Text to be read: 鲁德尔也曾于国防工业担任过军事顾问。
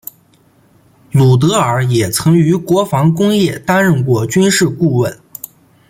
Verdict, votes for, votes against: accepted, 2, 0